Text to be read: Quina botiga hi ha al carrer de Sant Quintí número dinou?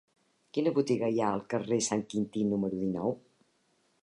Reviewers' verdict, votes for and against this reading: rejected, 0, 2